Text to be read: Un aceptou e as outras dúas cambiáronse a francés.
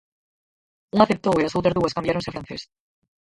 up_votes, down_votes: 0, 4